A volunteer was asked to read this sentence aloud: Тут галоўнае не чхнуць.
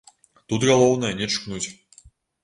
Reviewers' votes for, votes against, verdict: 0, 2, rejected